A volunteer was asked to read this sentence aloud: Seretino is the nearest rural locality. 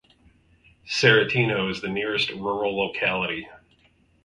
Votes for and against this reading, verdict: 4, 0, accepted